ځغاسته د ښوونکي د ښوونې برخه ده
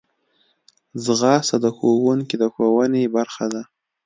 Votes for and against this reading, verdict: 2, 0, accepted